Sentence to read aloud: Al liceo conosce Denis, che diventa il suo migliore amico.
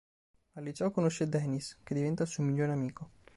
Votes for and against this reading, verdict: 3, 0, accepted